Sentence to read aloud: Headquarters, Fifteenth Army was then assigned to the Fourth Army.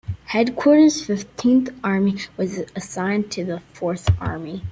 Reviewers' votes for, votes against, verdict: 2, 0, accepted